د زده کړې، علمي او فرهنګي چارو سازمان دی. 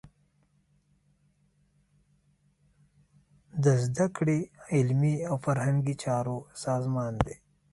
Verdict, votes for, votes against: rejected, 0, 2